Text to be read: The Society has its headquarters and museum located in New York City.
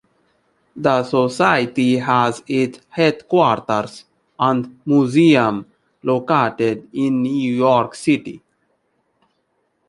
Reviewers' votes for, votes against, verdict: 0, 2, rejected